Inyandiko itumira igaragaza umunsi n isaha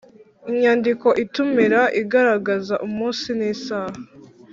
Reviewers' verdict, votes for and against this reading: accepted, 3, 0